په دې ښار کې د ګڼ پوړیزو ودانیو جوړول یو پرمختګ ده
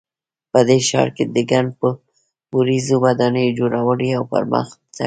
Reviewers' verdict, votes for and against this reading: rejected, 1, 2